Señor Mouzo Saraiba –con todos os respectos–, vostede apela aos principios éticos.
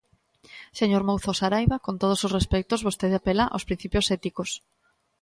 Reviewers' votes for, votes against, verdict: 2, 0, accepted